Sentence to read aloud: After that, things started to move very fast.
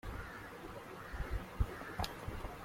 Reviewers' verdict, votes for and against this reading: rejected, 0, 2